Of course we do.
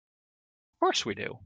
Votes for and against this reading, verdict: 0, 2, rejected